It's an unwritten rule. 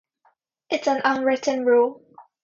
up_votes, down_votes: 2, 0